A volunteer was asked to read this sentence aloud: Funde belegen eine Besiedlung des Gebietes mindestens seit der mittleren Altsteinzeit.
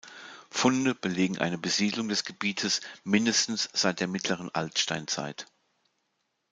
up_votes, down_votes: 2, 0